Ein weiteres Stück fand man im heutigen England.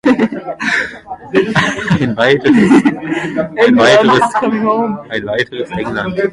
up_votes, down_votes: 0, 2